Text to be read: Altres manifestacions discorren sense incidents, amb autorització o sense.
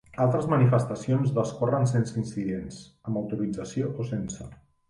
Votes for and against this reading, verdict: 1, 2, rejected